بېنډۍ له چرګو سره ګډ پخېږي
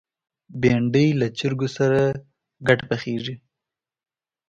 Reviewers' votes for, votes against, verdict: 2, 0, accepted